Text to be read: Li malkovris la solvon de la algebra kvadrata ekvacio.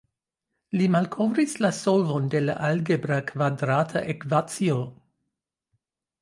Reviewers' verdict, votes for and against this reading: accepted, 2, 0